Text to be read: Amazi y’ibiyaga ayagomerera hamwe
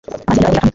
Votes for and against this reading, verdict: 0, 2, rejected